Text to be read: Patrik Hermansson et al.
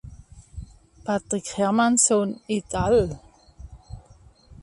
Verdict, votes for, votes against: accepted, 2, 0